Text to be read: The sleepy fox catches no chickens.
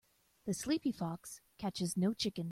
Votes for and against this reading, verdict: 0, 2, rejected